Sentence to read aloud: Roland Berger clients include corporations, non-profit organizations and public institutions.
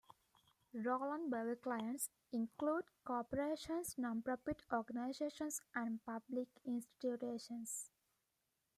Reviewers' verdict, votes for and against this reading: rejected, 1, 2